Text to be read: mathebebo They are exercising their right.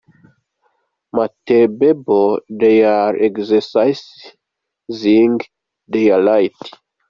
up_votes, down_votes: 1, 2